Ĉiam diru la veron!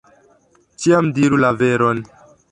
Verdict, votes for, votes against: rejected, 1, 2